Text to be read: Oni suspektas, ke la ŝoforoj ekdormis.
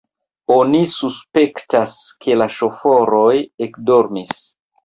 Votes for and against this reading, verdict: 2, 0, accepted